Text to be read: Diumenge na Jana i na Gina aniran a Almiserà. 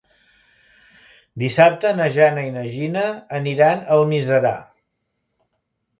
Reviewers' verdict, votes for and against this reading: rejected, 0, 2